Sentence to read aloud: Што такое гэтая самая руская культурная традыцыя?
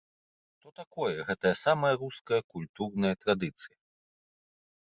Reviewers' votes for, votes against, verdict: 1, 2, rejected